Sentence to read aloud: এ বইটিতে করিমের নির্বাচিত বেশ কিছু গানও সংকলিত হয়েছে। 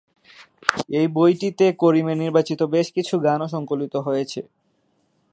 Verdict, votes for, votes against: accepted, 6, 0